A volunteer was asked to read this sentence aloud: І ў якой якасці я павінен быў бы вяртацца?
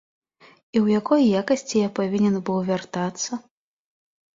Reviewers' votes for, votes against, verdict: 2, 0, accepted